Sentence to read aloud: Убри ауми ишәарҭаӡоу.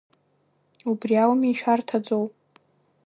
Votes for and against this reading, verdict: 1, 2, rejected